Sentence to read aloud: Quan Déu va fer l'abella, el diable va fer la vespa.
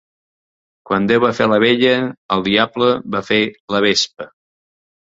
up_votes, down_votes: 3, 0